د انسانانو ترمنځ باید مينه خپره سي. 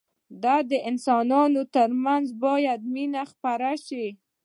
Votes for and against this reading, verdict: 1, 2, rejected